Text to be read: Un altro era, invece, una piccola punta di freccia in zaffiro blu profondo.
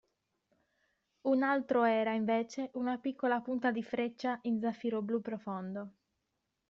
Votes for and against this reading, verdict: 2, 0, accepted